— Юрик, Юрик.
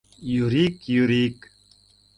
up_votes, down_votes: 2, 0